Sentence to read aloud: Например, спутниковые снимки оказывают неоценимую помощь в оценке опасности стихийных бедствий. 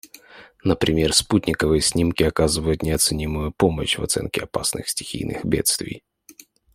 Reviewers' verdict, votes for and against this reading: rejected, 1, 2